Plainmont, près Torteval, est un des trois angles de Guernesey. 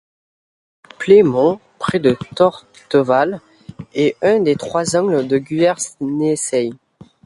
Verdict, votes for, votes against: rejected, 0, 2